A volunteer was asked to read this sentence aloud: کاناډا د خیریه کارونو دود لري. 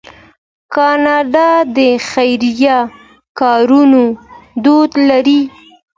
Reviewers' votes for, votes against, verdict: 2, 0, accepted